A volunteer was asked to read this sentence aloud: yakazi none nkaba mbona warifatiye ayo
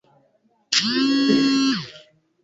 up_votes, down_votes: 1, 2